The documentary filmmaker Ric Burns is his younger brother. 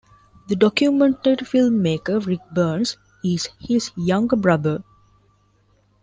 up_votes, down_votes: 0, 2